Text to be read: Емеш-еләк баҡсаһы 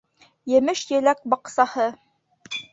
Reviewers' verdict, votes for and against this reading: rejected, 0, 2